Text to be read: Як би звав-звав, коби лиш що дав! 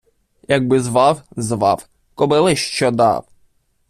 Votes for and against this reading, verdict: 0, 2, rejected